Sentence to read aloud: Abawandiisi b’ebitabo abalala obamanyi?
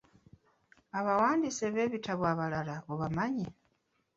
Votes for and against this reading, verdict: 0, 2, rejected